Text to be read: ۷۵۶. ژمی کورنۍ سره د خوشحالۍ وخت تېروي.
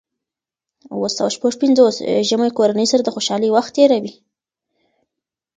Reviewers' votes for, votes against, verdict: 0, 2, rejected